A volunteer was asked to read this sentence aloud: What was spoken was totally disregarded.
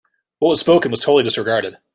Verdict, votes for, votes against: rejected, 1, 2